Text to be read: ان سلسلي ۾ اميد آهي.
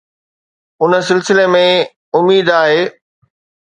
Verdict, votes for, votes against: accepted, 2, 0